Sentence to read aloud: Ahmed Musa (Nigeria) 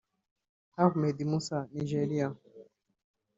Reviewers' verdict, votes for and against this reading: rejected, 1, 2